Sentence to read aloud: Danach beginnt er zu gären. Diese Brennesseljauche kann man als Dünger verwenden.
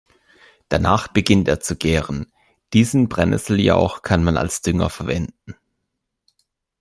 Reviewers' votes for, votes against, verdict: 1, 2, rejected